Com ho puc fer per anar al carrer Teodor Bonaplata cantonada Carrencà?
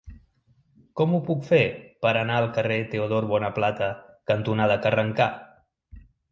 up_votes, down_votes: 0, 2